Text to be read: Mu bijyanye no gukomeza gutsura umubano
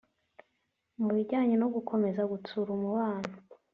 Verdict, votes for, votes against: accepted, 4, 0